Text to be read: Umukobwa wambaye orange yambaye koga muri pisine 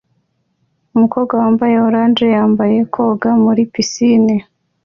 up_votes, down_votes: 2, 0